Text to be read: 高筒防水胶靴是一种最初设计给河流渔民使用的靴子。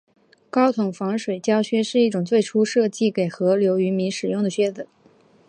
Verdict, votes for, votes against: accepted, 2, 0